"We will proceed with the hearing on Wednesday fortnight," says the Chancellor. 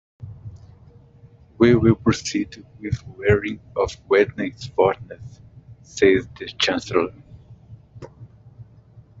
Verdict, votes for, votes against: rejected, 1, 2